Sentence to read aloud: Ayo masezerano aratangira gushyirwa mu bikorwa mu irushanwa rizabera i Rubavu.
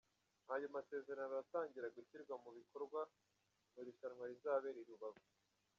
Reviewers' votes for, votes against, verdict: 2, 0, accepted